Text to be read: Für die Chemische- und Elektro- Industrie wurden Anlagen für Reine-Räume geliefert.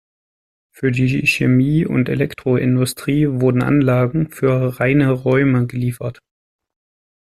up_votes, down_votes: 0, 2